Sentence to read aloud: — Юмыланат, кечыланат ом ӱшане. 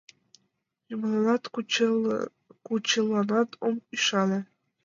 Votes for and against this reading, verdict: 1, 2, rejected